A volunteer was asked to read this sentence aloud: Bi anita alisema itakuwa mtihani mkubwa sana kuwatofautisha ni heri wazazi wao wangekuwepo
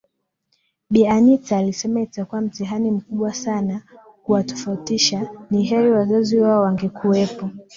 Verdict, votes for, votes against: accepted, 2, 0